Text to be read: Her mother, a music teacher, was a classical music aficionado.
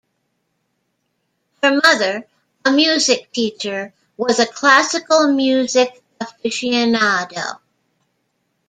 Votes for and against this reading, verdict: 2, 0, accepted